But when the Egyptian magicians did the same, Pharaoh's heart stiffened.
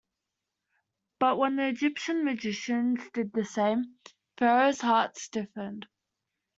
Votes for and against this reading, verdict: 2, 0, accepted